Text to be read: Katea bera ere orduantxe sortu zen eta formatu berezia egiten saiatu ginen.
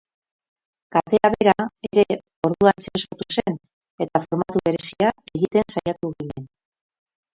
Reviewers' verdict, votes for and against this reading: rejected, 0, 10